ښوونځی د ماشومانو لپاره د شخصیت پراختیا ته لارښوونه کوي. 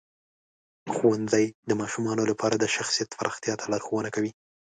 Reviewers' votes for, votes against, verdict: 2, 0, accepted